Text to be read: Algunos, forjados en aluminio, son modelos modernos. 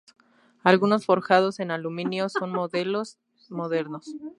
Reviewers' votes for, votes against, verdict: 4, 0, accepted